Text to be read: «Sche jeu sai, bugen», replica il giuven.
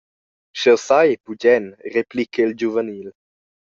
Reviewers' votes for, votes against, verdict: 0, 2, rejected